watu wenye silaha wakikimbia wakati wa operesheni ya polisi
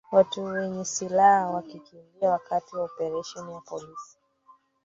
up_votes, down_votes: 1, 3